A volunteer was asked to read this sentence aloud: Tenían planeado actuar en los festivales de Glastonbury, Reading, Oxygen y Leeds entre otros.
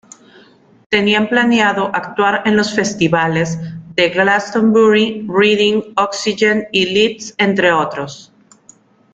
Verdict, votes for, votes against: accepted, 2, 0